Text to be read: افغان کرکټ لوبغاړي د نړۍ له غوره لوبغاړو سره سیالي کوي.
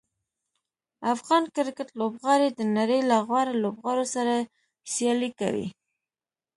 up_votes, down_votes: 2, 0